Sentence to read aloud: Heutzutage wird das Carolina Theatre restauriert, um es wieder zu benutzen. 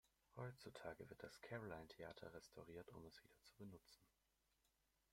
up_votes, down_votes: 0, 2